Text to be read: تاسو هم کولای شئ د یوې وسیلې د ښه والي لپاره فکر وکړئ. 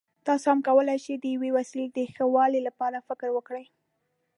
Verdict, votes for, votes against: accepted, 2, 0